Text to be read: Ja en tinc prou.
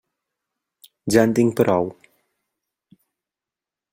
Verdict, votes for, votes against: accepted, 3, 0